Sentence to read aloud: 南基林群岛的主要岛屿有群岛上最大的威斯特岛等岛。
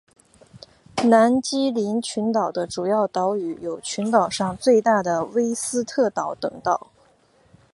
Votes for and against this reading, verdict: 2, 1, accepted